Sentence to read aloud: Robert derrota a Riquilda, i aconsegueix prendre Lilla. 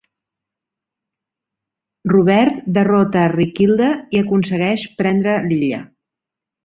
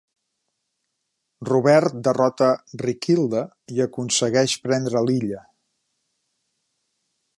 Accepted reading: first